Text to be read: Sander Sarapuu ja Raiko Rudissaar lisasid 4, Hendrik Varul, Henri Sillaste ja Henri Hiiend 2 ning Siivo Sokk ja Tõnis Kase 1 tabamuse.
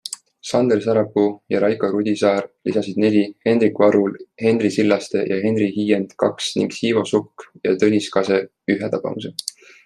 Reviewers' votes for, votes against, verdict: 0, 2, rejected